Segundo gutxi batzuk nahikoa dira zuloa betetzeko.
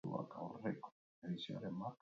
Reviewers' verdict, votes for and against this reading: rejected, 0, 4